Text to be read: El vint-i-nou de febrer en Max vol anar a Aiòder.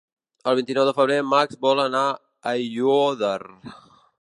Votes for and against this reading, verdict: 1, 2, rejected